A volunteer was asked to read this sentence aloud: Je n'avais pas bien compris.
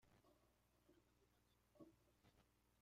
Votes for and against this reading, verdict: 0, 2, rejected